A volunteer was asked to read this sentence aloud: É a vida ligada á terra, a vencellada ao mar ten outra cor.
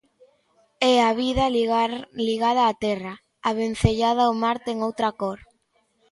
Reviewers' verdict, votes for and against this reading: rejected, 0, 2